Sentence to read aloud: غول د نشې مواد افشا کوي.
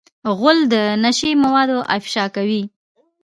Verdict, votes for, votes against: rejected, 0, 2